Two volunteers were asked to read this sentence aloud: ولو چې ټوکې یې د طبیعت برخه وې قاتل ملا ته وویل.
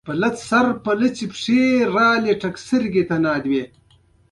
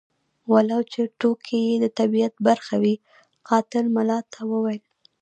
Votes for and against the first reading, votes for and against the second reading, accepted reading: 2, 0, 0, 2, first